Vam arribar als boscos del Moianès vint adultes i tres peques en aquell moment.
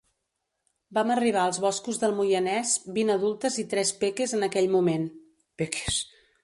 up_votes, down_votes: 1, 2